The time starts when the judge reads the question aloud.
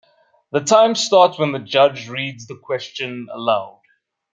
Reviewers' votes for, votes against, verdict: 0, 2, rejected